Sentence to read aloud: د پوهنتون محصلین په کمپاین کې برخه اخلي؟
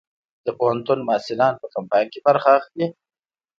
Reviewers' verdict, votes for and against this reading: accepted, 2, 1